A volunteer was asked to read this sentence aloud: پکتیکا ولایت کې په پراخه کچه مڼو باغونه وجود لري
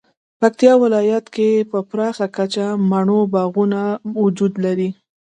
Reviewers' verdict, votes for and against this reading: accepted, 2, 1